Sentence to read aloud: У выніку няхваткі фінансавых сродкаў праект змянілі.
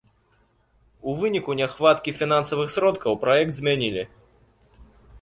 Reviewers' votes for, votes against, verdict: 2, 0, accepted